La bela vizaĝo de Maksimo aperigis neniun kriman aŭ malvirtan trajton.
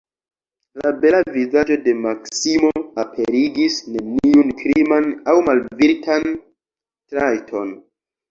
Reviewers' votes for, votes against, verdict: 1, 2, rejected